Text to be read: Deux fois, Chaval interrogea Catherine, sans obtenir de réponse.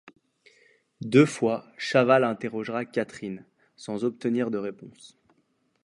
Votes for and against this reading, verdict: 1, 2, rejected